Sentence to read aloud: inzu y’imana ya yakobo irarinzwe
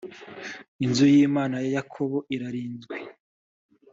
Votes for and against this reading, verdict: 2, 0, accepted